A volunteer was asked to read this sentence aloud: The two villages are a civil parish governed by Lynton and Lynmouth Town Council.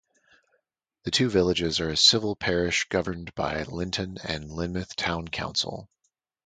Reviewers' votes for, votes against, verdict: 2, 0, accepted